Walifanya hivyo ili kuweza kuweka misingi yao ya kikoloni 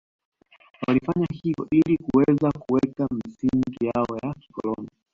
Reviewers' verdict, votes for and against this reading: accepted, 2, 0